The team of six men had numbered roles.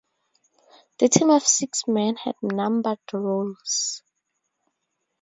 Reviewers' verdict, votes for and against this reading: rejected, 0, 2